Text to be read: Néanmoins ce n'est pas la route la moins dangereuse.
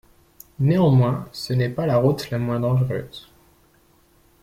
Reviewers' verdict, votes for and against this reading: accepted, 2, 0